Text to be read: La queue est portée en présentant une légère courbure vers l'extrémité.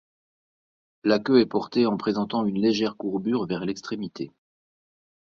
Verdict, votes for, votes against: accepted, 2, 0